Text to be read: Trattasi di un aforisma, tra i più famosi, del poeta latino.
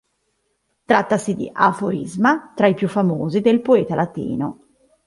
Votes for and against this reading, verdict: 2, 3, rejected